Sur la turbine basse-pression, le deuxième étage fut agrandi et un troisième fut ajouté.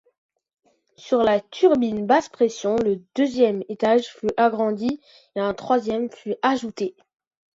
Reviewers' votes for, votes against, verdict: 2, 0, accepted